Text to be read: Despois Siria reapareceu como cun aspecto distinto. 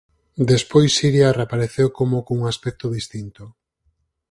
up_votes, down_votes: 4, 0